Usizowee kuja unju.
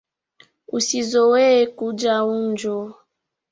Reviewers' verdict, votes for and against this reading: accepted, 2, 1